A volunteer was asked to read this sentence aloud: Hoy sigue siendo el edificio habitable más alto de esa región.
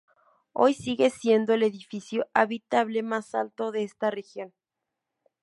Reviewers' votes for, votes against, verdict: 0, 4, rejected